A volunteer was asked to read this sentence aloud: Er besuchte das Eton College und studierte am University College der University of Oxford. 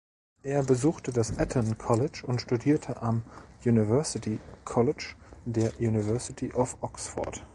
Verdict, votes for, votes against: rejected, 1, 2